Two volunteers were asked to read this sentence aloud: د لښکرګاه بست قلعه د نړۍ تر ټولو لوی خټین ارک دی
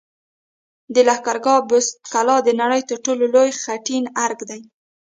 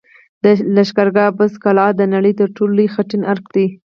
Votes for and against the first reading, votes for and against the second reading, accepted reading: 2, 0, 0, 4, first